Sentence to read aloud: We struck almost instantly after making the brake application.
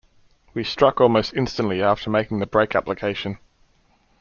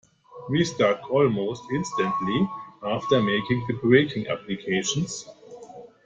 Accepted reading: first